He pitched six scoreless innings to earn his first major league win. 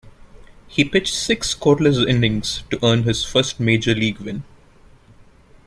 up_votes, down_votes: 3, 0